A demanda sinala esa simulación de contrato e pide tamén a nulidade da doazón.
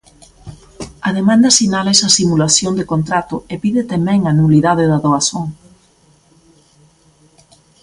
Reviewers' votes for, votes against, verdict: 2, 0, accepted